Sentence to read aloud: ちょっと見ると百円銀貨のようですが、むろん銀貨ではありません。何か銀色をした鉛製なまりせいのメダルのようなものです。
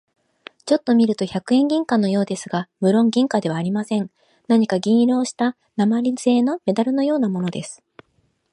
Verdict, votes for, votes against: accepted, 2, 1